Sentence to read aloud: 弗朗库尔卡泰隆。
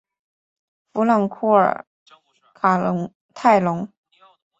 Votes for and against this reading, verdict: 1, 2, rejected